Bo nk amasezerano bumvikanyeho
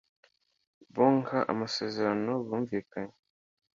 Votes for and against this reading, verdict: 2, 0, accepted